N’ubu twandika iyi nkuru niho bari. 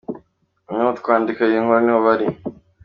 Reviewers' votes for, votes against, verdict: 2, 1, accepted